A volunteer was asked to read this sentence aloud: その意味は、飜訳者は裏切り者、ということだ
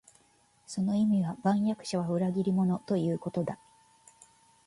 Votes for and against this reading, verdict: 0, 2, rejected